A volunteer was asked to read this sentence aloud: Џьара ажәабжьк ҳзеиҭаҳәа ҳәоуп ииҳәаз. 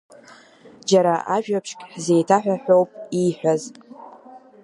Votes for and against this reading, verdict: 2, 0, accepted